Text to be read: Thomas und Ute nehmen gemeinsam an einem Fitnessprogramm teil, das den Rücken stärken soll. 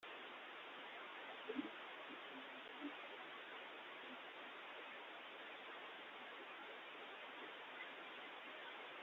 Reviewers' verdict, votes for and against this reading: rejected, 0, 2